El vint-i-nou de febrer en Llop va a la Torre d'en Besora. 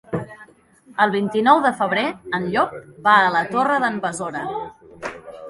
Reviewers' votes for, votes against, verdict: 2, 1, accepted